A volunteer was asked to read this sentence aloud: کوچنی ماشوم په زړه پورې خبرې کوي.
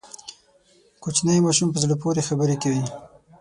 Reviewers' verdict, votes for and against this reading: accepted, 6, 0